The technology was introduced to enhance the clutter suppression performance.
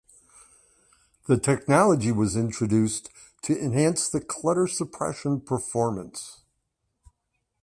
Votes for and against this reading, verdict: 2, 0, accepted